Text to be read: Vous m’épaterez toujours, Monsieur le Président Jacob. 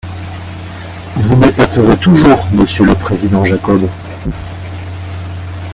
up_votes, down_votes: 2, 1